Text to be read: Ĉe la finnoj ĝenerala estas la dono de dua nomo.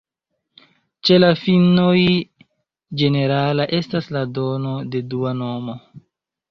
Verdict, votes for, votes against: accepted, 2, 0